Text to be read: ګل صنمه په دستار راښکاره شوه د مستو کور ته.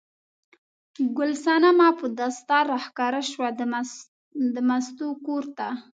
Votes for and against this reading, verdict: 2, 0, accepted